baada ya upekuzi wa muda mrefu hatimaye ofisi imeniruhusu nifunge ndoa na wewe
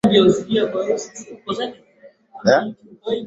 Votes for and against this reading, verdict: 0, 2, rejected